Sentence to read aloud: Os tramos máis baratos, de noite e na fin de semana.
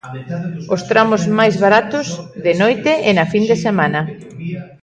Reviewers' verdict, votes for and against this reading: accepted, 2, 1